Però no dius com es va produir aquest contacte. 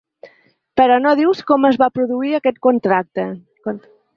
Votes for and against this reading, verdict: 1, 2, rejected